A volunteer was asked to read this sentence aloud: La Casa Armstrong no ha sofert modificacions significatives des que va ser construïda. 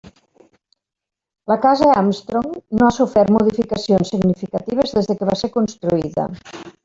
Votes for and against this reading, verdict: 2, 1, accepted